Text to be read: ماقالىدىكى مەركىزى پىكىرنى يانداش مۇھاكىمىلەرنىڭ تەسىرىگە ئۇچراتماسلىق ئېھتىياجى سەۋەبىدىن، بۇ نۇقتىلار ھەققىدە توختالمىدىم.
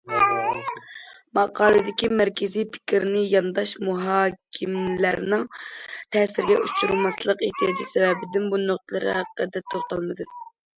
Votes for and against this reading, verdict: 1, 2, rejected